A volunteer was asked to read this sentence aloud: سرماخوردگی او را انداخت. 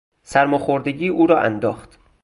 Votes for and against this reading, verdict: 4, 0, accepted